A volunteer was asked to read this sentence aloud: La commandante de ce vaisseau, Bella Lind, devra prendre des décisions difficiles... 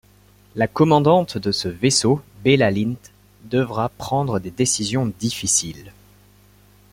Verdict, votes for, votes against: accepted, 2, 0